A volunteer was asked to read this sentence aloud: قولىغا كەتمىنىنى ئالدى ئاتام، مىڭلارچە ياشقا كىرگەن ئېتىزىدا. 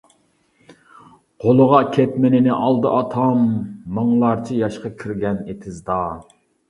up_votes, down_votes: 2, 0